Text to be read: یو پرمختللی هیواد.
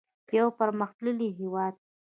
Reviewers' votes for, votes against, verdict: 1, 2, rejected